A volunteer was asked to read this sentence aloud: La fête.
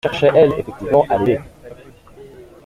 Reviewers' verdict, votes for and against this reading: rejected, 0, 2